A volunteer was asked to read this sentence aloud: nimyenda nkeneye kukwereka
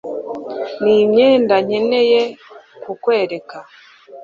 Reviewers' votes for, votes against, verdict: 2, 0, accepted